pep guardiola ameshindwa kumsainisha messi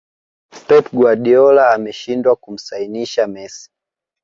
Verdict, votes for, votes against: accepted, 2, 1